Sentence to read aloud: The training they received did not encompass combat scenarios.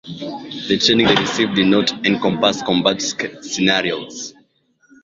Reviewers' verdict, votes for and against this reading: rejected, 0, 2